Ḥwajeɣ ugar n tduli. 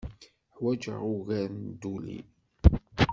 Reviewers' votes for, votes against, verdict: 1, 2, rejected